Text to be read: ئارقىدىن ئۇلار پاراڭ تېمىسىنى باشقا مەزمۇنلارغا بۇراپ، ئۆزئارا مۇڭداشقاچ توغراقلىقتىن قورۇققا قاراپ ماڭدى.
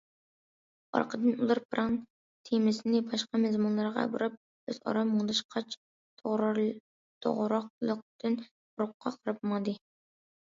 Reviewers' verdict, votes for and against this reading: rejected, 0, 2